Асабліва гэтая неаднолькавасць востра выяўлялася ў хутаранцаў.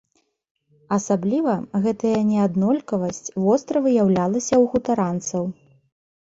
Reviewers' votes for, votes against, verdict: 2, 1, accepted